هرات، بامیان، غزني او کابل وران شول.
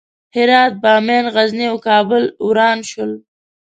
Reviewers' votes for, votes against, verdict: 2, 0, accepted